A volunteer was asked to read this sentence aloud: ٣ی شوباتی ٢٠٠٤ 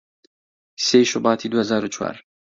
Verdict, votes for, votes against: rejected, 0, 2